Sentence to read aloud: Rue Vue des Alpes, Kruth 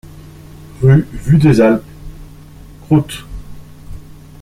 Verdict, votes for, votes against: rejected, 0, 2